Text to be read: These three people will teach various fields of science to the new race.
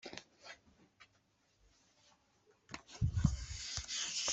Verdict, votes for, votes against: rejected, 0, 2